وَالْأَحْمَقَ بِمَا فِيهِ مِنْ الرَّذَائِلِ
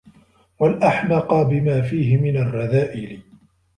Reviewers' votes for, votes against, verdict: 2, 0, accepted